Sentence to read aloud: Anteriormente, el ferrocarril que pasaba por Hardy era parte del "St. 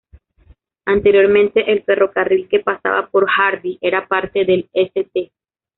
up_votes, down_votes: 1, 2